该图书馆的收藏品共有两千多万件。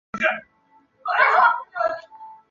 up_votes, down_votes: 0, 3